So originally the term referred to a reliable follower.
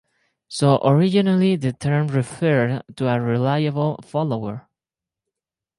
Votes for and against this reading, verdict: 2, 2, rejected